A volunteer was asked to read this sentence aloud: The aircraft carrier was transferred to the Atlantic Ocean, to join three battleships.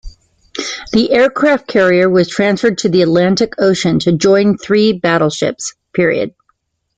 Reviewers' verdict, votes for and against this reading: rejected, 1, 2